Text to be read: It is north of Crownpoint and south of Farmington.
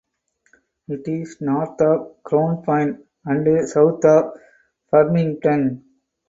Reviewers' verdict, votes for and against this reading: accepted, 4, 0